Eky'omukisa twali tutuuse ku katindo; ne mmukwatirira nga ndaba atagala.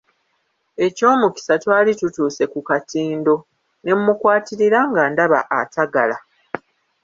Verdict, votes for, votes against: rejected, 1, 2